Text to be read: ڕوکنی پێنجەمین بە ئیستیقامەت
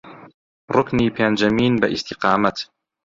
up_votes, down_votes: 0, 2